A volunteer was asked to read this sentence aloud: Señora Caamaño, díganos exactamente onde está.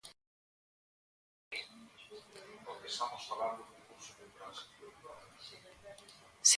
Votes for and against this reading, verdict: 0, 2, rejected